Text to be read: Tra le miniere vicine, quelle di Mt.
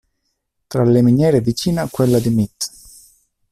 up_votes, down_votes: 0, 2